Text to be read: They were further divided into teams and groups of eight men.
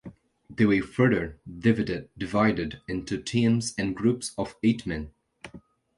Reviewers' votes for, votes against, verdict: 2, 1, accepted